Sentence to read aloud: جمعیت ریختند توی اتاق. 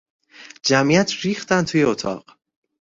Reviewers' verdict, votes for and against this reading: accepted, 2, 0